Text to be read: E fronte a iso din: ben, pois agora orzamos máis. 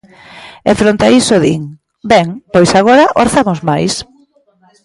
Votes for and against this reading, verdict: 1, 2, rejected